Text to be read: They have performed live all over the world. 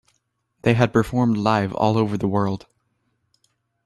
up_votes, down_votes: 3, 2